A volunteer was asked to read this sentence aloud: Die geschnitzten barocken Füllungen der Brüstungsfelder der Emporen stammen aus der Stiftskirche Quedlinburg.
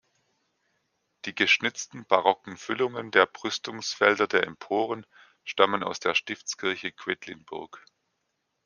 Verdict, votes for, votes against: accepted, 2, 0